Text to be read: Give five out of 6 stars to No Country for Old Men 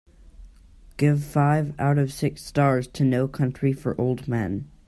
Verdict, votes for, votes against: rejected, 0, 2